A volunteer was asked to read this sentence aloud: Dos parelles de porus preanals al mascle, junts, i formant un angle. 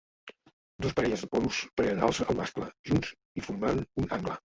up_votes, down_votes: 1, 2